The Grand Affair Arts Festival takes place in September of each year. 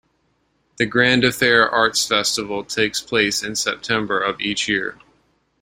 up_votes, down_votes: 2, 0